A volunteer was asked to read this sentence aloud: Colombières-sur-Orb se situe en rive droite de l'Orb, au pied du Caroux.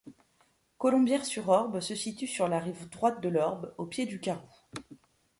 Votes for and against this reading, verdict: 0, 2, rejected